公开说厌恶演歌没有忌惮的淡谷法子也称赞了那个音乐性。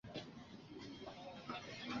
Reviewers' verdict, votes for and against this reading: rejected, 0, 3